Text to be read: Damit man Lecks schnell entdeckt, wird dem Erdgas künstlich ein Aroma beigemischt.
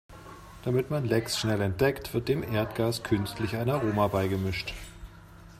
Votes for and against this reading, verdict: 3, 0, accepted